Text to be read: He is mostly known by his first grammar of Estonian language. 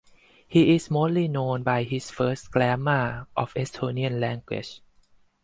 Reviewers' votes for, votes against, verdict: 2, 4, rejected